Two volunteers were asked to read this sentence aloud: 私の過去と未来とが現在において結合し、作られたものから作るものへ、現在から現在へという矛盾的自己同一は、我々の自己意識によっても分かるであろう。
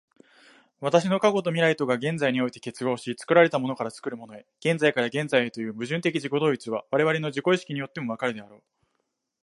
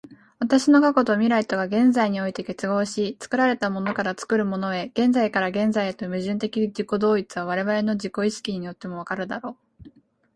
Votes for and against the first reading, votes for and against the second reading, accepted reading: 1, 2, 3, 0, second